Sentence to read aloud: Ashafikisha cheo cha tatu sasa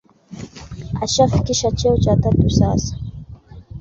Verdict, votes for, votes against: accepted, 2, 0